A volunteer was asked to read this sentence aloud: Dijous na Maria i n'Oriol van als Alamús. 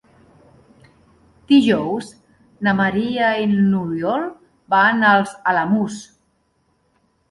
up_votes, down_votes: 1, 2